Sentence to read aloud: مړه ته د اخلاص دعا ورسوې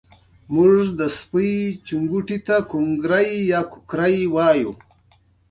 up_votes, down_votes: 3, 1